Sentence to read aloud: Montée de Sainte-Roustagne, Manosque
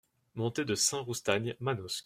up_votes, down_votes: 1, 2